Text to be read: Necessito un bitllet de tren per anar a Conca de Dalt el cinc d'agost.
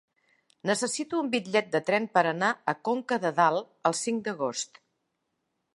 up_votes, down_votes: 0, 2